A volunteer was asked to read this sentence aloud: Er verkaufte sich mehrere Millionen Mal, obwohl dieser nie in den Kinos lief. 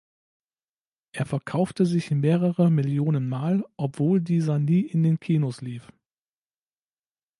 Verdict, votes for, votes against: accepted, 2, 0